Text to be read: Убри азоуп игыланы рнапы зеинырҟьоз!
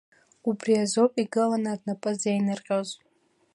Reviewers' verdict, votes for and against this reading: accepted, 2, 0